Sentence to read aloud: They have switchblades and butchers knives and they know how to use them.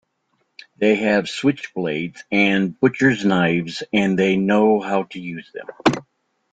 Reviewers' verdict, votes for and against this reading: accepted, 2, 0